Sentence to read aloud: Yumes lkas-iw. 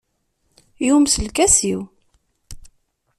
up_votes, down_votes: 2, 0